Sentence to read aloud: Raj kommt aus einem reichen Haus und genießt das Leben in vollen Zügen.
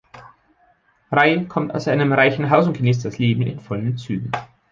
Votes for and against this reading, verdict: 1, 2, rejected